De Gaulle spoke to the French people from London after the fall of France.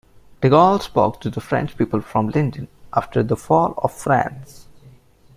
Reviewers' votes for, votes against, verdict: 0, 2, rejected